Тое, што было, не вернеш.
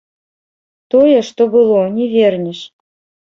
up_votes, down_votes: 1, 2